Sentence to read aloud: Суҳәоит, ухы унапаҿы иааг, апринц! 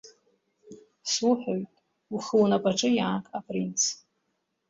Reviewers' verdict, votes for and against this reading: accepted, 2, 0